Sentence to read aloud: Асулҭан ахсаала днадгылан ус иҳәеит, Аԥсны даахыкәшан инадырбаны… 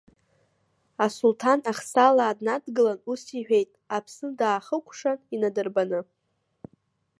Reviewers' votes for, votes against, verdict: 2, 1, accepted